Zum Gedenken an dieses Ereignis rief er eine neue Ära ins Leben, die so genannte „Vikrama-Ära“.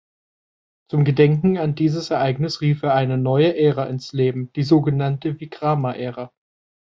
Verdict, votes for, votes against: accepted, 2, 0